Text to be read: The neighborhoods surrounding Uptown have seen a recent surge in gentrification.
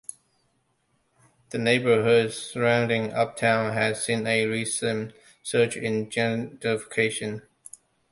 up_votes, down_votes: 0, 2